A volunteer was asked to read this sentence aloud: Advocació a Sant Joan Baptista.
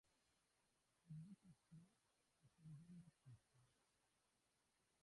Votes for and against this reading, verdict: 0, 3, rejected